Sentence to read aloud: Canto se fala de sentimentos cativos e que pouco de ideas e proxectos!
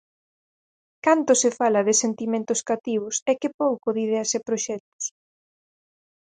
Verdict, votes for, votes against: accepted, 4, 0